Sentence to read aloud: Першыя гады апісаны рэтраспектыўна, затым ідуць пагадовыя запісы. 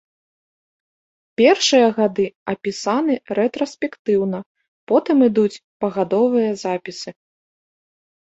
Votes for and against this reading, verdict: 1, 2, rejected